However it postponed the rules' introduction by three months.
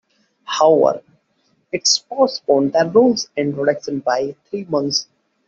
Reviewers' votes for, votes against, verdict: 2, 1, accepted